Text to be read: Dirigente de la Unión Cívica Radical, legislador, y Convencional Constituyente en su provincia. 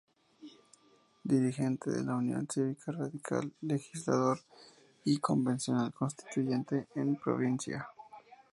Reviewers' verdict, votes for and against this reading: rejected, 0, 2